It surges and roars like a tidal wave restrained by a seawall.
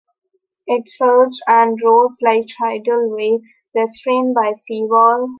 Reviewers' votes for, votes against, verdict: 1, 2, rejected